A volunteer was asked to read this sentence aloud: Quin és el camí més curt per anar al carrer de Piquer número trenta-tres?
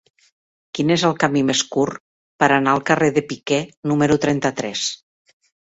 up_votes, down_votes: 4, 0